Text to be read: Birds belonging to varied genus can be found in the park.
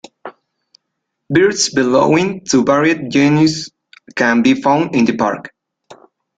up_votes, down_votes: 2, 1